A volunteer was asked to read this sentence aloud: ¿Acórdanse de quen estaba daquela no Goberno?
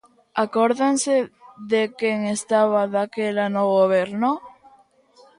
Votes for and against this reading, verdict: 2, 0, accepted